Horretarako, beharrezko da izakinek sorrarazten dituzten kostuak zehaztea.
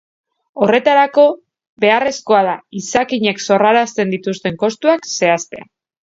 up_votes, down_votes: 1, 2